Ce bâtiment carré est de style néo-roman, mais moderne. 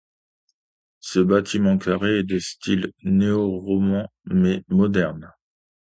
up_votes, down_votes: 2, 0